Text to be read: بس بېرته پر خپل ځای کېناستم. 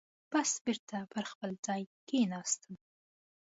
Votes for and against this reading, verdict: 2, 0, accepted